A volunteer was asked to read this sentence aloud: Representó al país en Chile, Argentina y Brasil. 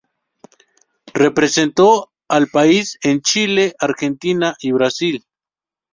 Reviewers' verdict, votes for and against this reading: accepted, 2, 0